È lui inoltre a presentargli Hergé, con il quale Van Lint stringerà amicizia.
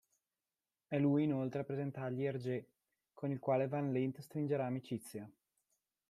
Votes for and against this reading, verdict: 2, 1, accepted